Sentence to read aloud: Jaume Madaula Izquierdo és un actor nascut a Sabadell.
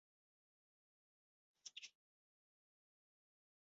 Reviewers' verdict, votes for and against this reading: rejected, 1, 2